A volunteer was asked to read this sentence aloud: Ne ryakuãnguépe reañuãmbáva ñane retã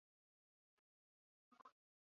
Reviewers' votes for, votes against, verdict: 0, 2, rejected